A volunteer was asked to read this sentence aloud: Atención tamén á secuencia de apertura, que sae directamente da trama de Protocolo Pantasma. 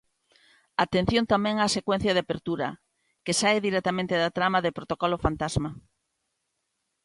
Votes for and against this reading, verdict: 1, 2, rejected